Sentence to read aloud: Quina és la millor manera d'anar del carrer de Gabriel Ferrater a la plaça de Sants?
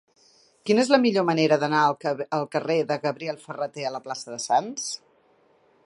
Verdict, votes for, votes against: rejected, 1, 2